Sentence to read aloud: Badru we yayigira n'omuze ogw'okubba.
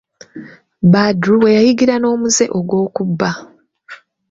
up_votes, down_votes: 2, 0